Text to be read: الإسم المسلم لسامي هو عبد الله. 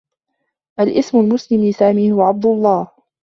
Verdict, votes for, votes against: accepted, 2, 0